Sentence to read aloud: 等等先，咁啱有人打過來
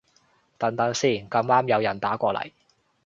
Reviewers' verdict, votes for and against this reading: rejected, 1, 2